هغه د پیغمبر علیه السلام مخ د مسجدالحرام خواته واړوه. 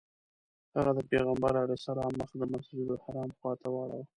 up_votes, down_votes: 1, 2